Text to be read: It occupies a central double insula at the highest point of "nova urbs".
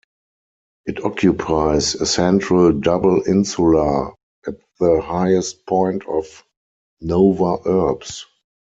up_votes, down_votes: 4, 0